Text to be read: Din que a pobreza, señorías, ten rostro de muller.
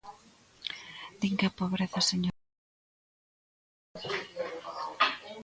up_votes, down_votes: 0, 3